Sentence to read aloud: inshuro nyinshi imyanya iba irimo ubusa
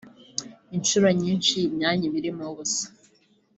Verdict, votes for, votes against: accepted, 3, 0